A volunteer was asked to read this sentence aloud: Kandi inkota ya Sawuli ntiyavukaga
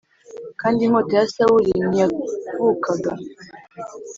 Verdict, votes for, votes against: accepted, 2, 0